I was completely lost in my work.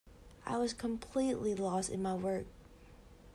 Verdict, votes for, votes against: accepted, 2, 0